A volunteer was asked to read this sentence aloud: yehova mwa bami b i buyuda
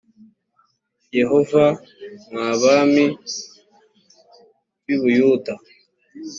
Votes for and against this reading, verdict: 2, 0, accepted